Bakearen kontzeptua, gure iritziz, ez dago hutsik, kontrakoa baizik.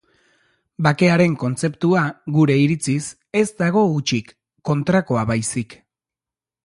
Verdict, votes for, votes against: accepted, 2, 0